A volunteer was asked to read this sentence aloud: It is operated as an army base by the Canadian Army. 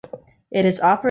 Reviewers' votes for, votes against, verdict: 0, 2, rejected